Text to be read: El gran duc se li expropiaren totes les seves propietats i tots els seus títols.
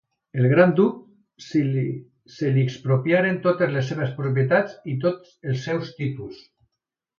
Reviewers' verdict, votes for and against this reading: accepted, 3, 2